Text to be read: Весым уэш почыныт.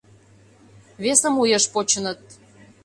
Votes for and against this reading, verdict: 2, 0, accepted